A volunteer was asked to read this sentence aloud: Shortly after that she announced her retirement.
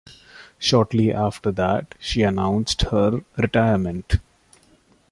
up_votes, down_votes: 2, 0